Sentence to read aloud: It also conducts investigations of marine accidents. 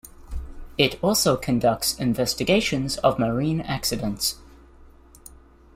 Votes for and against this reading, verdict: 2, 0, accepted